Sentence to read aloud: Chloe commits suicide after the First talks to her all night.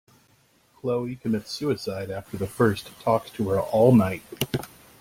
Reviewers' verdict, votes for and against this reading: rejected, 1, 2